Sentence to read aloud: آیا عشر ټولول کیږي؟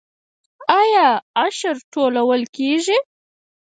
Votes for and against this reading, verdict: 2, 4, rejected